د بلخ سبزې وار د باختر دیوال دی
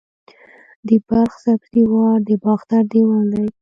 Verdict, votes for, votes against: rejected, 1, 2